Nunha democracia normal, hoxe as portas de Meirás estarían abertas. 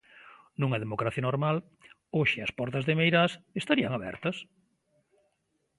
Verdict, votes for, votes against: accepted, 2, 0